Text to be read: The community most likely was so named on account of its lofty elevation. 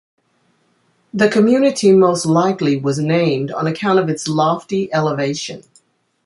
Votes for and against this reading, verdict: 1, 2, rejected